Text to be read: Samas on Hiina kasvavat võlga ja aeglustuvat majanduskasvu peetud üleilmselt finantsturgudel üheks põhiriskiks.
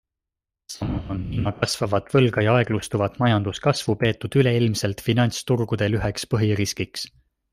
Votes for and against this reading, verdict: 0, 2, rejected